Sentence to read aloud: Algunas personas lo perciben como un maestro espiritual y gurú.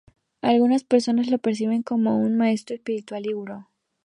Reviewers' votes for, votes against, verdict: 4, 0, accepted